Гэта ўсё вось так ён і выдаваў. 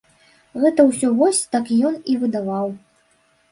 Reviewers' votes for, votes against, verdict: 2, 0, accepted